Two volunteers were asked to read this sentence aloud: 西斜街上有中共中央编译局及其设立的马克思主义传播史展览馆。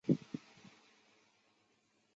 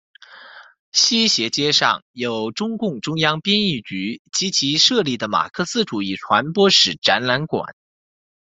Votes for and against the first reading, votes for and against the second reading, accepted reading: 0, 2, 2, 1, second